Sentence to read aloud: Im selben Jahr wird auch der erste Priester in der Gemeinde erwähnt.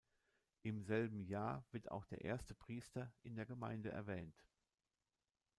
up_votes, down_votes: 2, 0